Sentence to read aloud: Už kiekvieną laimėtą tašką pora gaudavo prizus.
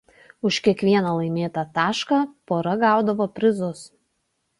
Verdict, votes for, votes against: accepted, 2, 0